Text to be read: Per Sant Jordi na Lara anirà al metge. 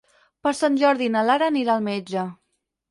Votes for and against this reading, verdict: 4, 0, accepted